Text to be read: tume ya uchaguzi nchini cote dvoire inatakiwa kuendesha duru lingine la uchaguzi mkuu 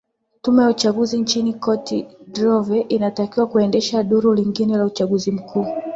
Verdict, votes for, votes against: accepted, 3, 1